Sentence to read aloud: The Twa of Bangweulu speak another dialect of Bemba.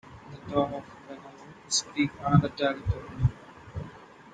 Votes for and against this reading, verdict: 0, 2, rejected